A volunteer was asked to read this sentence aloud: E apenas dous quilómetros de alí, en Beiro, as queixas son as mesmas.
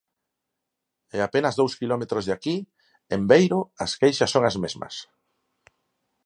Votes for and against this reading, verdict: 0, 4, rejected